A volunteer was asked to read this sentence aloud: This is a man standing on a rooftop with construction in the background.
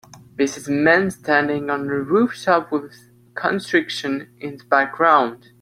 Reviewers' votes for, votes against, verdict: 1, 2, rejected